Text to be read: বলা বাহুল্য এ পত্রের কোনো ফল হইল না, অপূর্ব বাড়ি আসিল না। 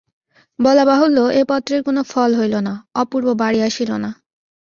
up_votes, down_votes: 2, 0